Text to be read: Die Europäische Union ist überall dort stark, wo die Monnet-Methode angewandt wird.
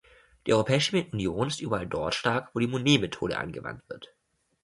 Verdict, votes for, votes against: rejected, 1, 2